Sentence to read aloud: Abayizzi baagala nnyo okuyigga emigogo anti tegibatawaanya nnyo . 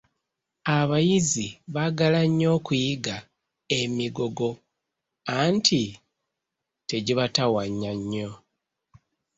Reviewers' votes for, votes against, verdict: 2, 0, accepted